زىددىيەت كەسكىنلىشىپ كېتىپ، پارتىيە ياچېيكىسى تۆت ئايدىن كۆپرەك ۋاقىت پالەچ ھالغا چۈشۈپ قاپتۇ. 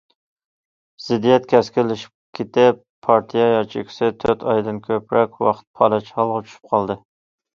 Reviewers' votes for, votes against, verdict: 1, 2, rejected